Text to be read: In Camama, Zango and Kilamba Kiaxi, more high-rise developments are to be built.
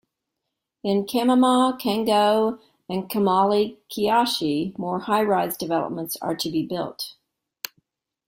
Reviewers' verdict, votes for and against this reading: rejected, 1, 2